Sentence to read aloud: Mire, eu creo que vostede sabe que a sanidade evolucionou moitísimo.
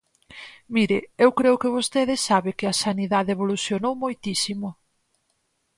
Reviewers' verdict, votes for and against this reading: accepted, 4, 0